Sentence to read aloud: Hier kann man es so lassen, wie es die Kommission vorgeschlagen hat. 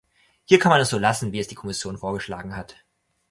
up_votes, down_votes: 2, 0